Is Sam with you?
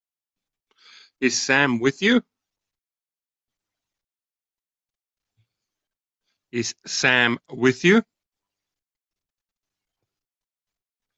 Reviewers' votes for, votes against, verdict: 1, 2, rejected